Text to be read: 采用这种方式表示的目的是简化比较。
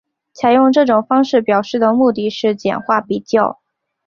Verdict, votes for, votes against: accepted, 4, 0